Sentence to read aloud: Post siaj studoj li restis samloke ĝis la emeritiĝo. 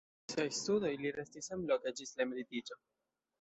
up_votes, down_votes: 1, 2